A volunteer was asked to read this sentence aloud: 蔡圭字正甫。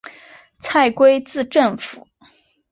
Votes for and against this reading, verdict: 3, 0, accepted